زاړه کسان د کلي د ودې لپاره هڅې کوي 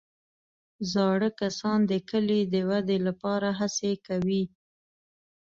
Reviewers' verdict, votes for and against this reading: accepted, 2, 0